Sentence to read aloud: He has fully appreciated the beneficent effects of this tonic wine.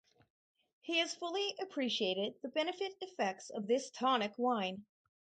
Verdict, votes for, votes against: rejected, 2, 2